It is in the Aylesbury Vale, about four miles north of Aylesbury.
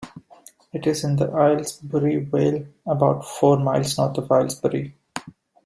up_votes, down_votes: 0, 2